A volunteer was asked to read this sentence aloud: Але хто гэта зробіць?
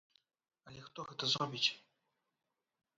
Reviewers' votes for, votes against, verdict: 3, 0, accepted